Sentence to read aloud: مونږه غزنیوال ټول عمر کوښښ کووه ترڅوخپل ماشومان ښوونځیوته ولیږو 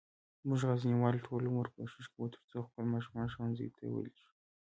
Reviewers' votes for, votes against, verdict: 2, 1, accepted